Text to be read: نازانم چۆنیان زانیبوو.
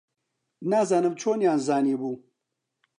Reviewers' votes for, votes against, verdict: 2, 0, accepted